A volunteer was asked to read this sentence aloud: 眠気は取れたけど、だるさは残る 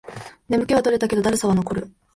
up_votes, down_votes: 3, 0